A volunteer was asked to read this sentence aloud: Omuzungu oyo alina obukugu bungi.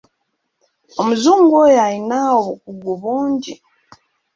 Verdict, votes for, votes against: accepted, 2, 0